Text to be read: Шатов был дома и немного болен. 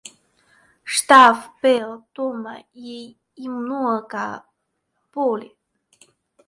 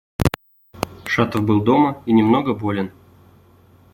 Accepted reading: second